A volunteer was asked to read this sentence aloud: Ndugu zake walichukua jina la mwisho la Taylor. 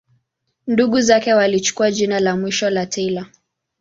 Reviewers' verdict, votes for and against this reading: accepted, 2, 0